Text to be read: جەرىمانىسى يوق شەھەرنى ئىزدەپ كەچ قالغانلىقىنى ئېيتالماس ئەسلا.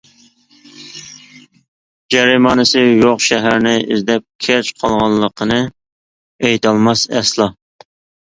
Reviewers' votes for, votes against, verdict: 2, 0, accepted